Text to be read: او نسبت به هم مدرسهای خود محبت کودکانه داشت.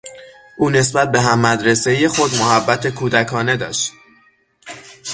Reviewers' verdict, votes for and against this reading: accepted, 6, 0